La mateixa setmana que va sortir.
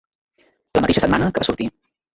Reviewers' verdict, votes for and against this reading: rejected, 1, 2